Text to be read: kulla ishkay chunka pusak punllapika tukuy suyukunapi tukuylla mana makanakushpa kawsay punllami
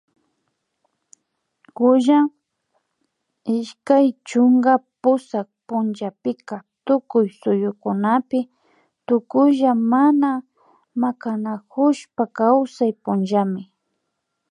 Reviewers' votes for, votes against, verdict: 2, 0, accepted